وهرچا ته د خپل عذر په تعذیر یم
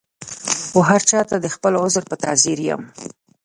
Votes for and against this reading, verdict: 1, 2, rejected